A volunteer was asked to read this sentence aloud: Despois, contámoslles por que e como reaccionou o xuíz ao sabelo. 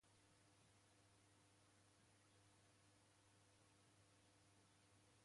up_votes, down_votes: 0, 2